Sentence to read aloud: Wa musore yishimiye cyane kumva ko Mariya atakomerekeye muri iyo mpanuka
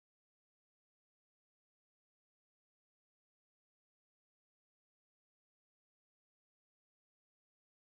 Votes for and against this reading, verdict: 1, 2, rejected